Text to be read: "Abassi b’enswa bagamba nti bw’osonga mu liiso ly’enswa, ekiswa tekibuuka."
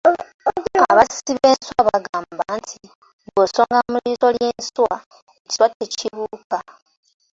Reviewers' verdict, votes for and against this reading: rejected, 1, 2